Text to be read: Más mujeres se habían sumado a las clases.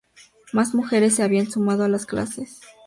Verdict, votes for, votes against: accepted, 2, 0